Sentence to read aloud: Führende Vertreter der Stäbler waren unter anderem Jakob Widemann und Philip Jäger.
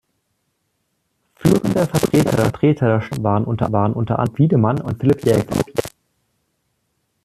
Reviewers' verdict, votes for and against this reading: rejected, 0, 2